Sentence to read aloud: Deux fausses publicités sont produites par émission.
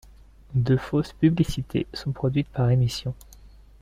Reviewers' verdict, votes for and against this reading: accepted, 2, 0